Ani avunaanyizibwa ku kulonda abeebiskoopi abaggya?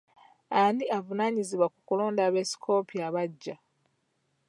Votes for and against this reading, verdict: 0, 2, rejected